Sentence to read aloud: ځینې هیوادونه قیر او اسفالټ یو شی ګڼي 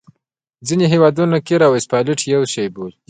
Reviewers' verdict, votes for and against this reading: accepted, 2, 0